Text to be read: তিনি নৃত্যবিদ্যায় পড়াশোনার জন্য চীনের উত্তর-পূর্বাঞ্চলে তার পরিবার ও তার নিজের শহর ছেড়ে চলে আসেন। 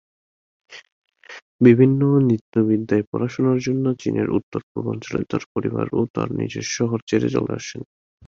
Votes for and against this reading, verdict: 1, 3, rejected